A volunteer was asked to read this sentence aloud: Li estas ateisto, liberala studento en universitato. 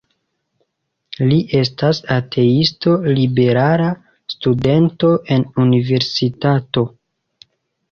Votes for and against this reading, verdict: 1, 2, rejected